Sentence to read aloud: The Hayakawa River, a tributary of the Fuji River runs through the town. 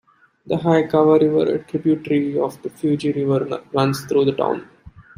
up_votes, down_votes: 0, 2